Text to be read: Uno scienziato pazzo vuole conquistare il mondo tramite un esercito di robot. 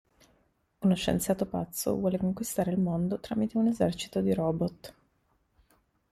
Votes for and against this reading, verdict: 0, 2, rejected